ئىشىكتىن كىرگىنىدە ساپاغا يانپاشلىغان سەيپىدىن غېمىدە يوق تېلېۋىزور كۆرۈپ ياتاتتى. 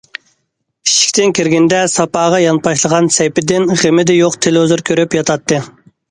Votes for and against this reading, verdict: 2, 0, accepted